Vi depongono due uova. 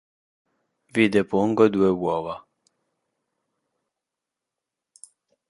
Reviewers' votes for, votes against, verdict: 0, 2, rejected